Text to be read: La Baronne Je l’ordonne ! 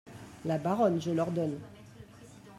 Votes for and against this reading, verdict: 1, 2, rejected